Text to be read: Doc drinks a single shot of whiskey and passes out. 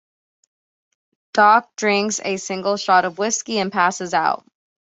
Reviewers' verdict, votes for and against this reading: accepted, 2, 0